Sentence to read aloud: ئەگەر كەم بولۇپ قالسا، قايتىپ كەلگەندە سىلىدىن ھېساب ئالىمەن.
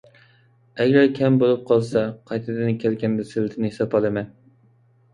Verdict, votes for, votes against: rejected, 1, 2